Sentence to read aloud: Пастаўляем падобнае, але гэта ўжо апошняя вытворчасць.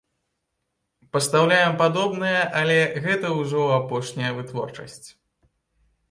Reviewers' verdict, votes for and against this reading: accepted, 2, 0